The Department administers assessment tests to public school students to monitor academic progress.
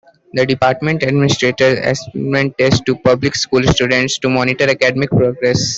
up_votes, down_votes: 1, 2